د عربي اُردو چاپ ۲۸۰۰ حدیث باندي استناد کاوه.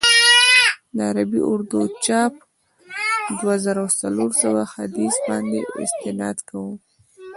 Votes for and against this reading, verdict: 0, 2, rejected